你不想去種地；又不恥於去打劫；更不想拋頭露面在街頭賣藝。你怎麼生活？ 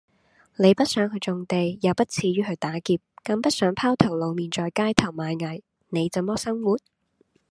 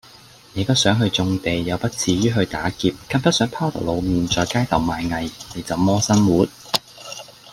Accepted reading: second